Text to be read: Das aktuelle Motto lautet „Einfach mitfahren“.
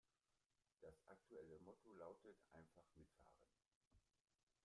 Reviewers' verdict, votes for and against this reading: rejected, 0, 2